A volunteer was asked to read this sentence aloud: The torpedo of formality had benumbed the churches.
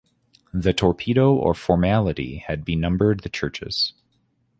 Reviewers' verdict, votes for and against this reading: rejected, 1, 2